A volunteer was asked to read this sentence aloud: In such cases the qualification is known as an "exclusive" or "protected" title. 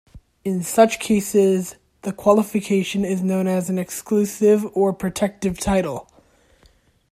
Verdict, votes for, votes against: rejected, 1, 2